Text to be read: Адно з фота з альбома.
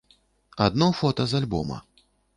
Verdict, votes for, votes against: rejected, 1, 2